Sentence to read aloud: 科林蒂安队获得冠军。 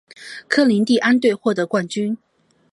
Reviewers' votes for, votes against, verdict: 2, 0, accepted